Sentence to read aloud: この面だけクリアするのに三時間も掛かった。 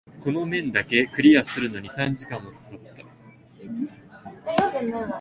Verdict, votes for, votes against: accepted, 2, 0